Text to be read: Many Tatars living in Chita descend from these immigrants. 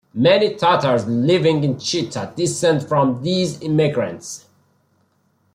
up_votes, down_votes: 2, 0